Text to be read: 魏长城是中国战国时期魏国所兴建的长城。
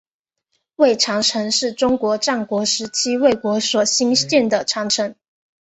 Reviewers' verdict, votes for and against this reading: accepted, 3, 1